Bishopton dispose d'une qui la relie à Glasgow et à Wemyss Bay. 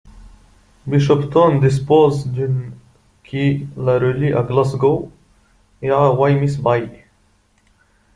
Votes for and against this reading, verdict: 0, 2, rejected